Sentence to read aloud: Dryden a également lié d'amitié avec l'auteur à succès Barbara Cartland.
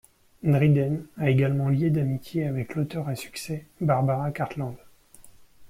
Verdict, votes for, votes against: accepted, 2, 1